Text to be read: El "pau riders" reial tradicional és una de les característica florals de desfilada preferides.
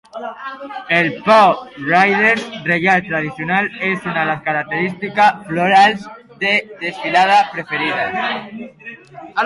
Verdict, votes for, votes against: accepted, 2, 1